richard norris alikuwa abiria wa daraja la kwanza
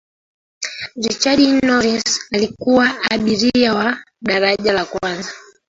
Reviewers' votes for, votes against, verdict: 1, 2, rejected